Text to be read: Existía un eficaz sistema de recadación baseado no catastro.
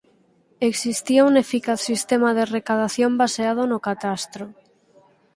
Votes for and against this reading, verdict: 2, 4, rejected